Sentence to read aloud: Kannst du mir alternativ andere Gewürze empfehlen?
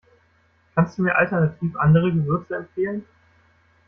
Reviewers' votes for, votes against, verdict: 2, 0, accepted